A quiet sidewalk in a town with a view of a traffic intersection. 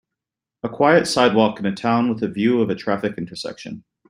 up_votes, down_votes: 3, 0